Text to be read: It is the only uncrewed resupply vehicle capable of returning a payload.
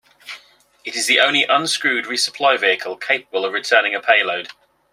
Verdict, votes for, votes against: rejected, 0, 2